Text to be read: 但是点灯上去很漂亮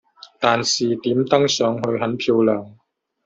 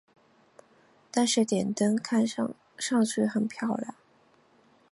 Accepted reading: second